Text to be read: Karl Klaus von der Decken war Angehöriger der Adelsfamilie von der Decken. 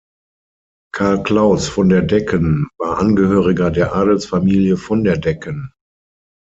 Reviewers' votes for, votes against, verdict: 6, 0, accepted